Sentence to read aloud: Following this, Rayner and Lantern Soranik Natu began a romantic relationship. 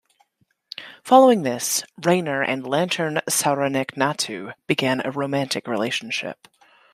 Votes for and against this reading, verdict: 2, 1, accepted